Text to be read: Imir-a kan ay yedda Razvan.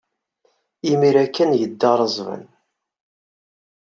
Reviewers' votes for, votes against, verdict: 2, 0, accepted